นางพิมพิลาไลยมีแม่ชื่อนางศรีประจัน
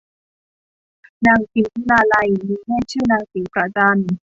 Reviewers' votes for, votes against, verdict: 1, 2, rejected